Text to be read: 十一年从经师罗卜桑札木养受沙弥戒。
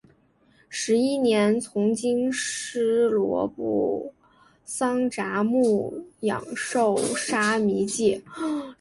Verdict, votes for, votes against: accepted, 2, 0